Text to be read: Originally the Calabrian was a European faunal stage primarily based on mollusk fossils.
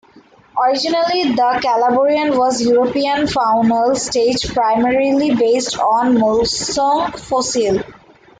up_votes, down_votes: 0, 2